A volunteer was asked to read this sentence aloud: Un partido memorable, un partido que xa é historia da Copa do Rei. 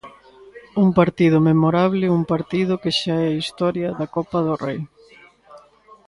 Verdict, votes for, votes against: accepted, 2, 0